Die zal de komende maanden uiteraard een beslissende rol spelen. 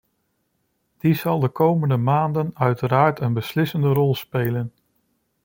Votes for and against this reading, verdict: 2, 0, accepted